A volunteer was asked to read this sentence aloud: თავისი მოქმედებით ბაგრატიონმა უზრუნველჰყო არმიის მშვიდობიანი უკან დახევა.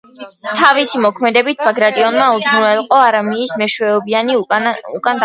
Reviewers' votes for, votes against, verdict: 1, 2, rejected